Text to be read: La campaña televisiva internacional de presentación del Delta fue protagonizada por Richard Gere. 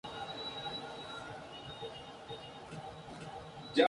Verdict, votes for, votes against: rejected, 0, 2